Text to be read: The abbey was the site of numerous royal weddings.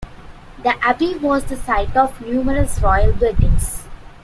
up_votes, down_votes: 2, 0